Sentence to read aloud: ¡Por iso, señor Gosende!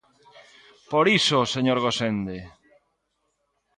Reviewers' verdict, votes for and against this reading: accepted, 2, 0